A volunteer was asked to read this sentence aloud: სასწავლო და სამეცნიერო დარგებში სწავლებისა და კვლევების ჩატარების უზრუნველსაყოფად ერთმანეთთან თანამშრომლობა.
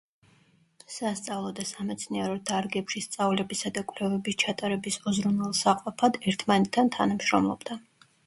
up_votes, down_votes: 0, 2